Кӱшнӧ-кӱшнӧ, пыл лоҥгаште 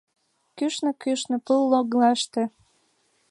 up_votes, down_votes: 0, 2